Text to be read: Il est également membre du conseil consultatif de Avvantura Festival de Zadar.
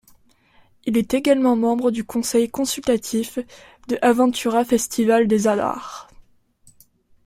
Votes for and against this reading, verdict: 0, 2, rejected